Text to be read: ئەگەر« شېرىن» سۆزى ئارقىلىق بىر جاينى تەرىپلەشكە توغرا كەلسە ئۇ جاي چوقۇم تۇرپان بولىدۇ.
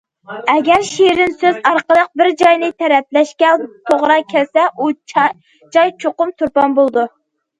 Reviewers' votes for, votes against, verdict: 0, 2, rejected